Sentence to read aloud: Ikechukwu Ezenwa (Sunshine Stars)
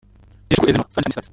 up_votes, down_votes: 0, 4